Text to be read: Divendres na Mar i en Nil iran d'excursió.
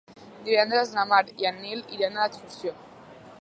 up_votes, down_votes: 1, 2